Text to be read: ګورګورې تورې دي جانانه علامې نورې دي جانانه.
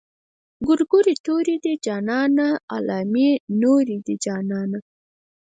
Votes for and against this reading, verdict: 0, 4, rejected